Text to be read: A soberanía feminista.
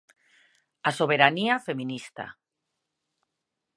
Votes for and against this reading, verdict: 2, 0, accepted